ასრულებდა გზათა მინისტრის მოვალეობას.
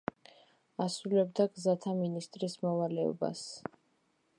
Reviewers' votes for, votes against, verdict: 2, 0, accepted